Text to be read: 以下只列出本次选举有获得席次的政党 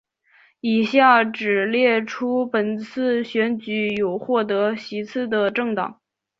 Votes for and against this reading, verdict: 2, 0, accepted